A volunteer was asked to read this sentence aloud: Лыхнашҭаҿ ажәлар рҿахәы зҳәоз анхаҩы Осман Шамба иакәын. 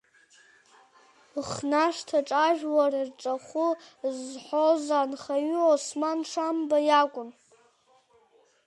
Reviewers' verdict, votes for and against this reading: rejected, 1, 2